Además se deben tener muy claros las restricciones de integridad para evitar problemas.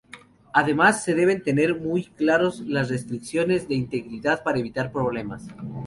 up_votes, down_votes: 0, 2